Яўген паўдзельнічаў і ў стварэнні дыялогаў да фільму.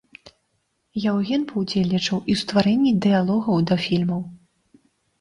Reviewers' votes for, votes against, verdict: 2, 0, accepted